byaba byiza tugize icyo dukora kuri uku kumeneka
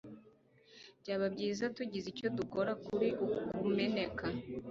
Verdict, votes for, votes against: accepted, 2, 1